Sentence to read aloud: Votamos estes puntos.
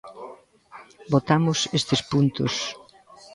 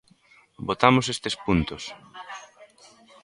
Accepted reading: second